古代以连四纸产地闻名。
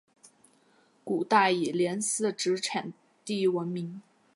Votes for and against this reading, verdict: 2, 0, accepted